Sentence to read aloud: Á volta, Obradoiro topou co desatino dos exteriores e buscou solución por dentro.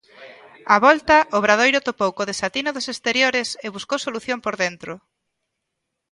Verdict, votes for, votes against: rejected, 1, 2